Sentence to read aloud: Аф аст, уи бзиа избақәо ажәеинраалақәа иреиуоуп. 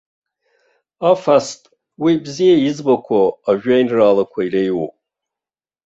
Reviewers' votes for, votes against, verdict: 0, 2, rejected